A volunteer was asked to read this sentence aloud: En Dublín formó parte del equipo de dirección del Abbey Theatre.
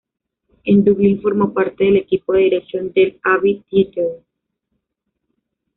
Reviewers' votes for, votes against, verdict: 2, 1, accepted